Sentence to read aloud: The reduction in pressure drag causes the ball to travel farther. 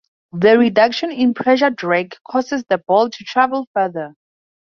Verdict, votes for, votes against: accepted, 6, 0